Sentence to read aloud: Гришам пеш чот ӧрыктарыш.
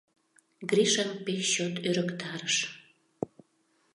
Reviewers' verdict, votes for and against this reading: accepted, 2, 0